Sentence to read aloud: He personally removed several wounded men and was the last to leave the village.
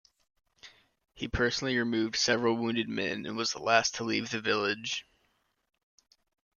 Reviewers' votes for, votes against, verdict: 2, 0, accepted